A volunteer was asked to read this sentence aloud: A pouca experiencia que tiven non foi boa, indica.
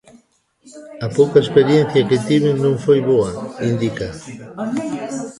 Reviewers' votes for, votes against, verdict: 1, 2, rejected